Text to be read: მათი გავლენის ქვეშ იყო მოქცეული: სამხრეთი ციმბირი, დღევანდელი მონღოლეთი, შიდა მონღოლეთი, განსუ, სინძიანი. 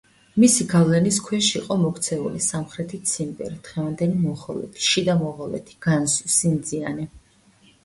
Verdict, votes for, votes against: rejected, 0, 2